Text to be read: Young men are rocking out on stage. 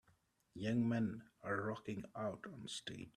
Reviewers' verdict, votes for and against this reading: rejected, 1, 2